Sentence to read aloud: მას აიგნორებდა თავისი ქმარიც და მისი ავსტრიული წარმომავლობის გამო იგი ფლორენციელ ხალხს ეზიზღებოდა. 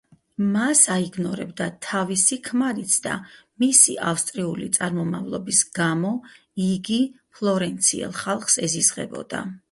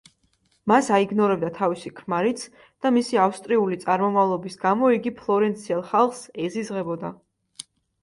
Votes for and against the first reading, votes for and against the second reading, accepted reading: 2, 4, 2, 0, second